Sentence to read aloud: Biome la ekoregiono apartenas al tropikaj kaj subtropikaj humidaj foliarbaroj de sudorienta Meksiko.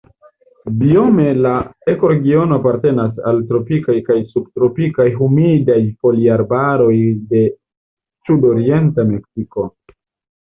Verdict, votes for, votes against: accepted, 2, 0